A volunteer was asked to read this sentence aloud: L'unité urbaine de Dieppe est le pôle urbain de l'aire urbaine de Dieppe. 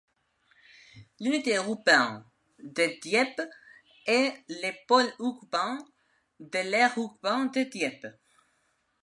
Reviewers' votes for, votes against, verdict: 2, 0, accepted